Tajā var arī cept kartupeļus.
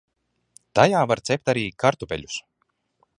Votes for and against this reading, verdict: 0, 2, rejected